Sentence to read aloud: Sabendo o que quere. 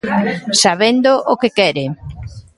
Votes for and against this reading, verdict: 2, 0, accepted